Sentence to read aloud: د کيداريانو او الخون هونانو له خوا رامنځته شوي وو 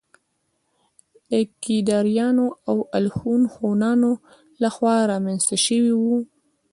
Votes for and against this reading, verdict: 1, 2, rejected